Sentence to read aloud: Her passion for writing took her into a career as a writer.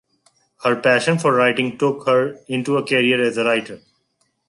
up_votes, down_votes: 2, 0